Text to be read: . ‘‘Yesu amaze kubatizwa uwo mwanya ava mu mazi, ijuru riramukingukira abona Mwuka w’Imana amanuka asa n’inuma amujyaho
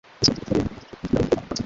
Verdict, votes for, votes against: rejected, 1, 2